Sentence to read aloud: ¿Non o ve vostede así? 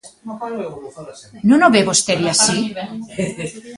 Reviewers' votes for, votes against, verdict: 0, 2, rejected